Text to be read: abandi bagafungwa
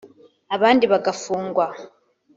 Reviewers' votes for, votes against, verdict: 4, 0, accepted